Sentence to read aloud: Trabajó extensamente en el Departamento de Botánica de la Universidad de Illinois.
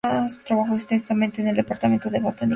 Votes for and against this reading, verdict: 0, 2, rejected